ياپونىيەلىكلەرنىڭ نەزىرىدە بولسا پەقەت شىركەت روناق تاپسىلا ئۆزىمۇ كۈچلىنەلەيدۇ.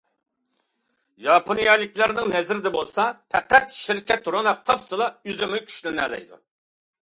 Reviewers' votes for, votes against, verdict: 2, 1, accepted